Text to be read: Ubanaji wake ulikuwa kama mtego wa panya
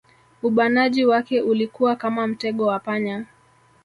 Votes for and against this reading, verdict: 2, 0, accepted